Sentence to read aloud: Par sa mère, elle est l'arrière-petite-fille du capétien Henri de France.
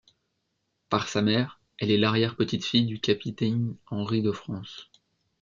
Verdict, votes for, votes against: rejected, 0, 2